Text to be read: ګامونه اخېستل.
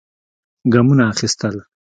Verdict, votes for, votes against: accepted, 2, 0